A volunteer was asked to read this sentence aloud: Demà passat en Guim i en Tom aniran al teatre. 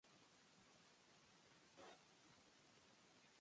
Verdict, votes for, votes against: rejected, 0, 2